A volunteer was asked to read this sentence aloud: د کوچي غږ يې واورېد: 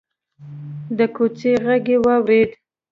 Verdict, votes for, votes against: accepted, 2, 0